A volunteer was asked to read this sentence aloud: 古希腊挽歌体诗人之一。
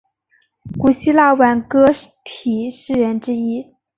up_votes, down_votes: 0, 2